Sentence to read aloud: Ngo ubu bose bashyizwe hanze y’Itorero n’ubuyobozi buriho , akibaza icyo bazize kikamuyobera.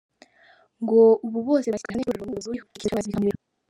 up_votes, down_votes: 1, 2